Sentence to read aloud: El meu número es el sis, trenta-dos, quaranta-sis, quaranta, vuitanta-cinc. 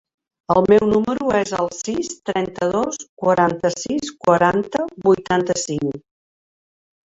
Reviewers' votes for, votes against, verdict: 3, 0, accepted